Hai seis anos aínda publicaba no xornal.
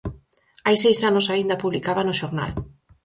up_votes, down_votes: 4, 0